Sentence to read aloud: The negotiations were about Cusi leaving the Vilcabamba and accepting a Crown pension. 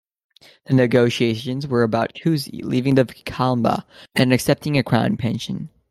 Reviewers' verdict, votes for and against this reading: accepted, 2, 0